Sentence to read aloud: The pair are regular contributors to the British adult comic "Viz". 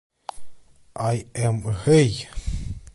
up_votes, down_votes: 1, 2